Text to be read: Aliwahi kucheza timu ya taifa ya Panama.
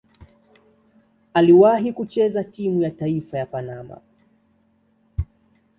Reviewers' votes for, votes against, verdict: 2, 0, accepted